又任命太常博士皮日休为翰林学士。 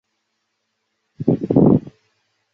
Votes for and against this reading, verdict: 0, 2, rejected